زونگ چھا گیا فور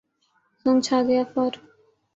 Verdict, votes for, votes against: accepted, 14, 0